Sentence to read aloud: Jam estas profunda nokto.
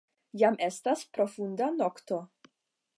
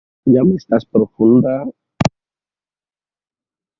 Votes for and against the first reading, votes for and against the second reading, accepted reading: 5, 0, 1, 2, first